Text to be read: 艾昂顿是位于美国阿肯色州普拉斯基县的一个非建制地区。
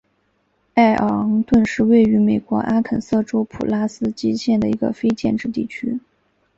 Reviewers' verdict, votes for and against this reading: accepted, 2, 0